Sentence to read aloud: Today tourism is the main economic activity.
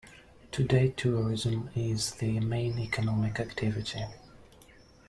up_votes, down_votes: 0, 2